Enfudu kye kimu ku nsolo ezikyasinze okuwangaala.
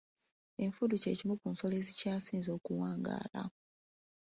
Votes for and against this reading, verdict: 2, 0, accepted